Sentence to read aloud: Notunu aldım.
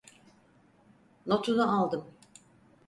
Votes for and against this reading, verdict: 4, 0, accepted